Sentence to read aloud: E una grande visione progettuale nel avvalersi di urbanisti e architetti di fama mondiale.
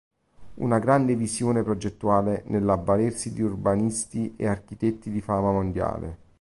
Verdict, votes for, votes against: rejected, 1, 2